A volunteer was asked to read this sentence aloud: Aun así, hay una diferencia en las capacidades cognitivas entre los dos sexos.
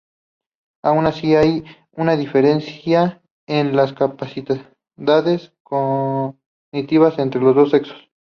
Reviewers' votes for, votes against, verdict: 0, 2, rejected